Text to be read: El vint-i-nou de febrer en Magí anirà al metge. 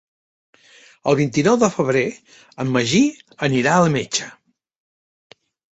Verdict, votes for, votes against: accepted, 2, 0